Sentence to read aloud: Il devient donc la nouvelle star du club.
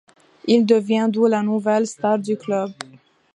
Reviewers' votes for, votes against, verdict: 0, 2, rejected